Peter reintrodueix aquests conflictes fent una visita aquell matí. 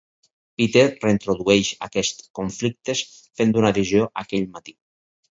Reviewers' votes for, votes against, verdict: 2, 4, rejected